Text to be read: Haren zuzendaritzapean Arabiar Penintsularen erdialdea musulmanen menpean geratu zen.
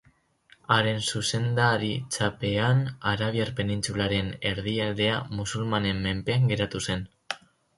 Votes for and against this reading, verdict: 4, 2, accepted